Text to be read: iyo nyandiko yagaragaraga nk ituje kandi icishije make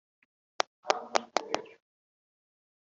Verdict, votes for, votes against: rejected, 1, 2